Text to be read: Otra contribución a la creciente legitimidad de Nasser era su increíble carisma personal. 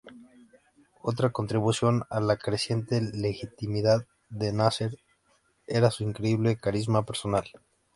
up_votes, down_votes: 2, 0